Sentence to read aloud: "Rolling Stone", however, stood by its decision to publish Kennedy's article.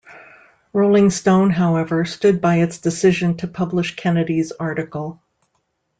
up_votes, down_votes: 2, 0